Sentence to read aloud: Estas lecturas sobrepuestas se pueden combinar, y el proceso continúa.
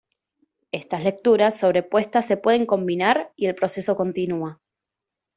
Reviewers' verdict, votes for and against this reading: accepted, 2, 0